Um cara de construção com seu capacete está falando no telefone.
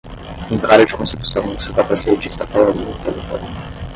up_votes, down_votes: 5, 5